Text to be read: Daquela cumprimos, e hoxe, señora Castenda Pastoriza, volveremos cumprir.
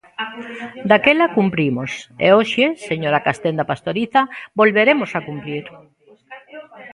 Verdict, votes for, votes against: rejected, 1, 2